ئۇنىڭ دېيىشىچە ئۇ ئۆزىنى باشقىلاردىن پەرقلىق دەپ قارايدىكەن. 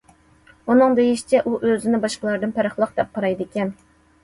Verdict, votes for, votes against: accepted, 2, 0